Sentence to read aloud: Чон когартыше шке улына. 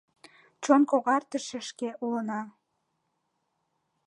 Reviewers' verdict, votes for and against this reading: rejected, 1, 2